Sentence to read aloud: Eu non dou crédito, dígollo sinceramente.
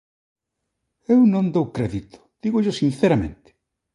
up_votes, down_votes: 2, 0